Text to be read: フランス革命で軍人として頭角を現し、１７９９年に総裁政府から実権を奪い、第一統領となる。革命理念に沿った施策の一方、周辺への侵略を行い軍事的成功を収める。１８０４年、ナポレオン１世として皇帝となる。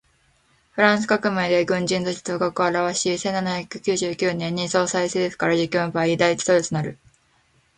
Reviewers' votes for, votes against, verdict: 0, 2, rejected